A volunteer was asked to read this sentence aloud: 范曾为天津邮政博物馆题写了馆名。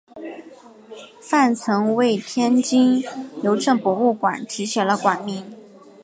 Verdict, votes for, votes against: accepted, 2, 0